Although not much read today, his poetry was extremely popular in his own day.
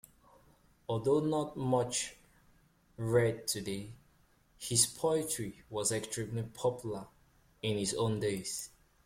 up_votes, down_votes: 1, 3